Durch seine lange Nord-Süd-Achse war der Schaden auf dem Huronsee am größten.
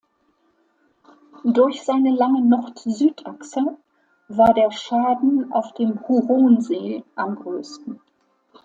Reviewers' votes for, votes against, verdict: 2, 0, accepted